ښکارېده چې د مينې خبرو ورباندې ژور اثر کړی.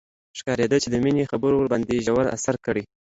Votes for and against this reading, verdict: 2, 0, accepted